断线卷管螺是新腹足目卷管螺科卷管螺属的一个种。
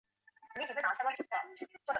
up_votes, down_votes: 1, 3